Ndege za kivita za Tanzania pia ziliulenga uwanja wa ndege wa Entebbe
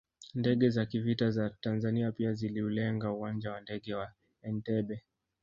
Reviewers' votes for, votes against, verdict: 0, 2, rejected